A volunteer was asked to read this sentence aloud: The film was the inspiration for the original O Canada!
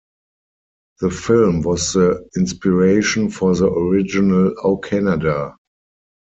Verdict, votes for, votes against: rejected, 0, 4